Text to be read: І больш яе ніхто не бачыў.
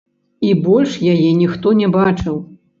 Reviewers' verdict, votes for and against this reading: rejected, 0, 3